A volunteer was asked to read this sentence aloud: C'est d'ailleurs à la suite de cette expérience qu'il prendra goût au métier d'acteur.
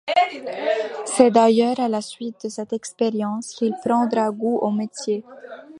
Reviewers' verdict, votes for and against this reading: rejected, 0, 2